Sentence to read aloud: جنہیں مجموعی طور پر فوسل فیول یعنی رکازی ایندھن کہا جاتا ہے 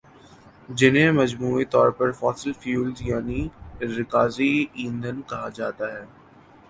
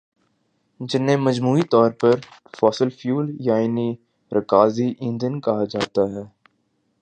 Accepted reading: first